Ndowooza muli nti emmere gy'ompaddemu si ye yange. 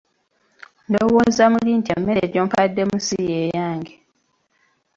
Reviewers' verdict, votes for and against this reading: accepted, 2, 0